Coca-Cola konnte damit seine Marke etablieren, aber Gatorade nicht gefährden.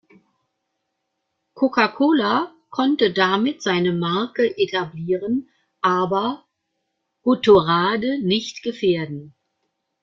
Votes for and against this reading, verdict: 0, 2, rejected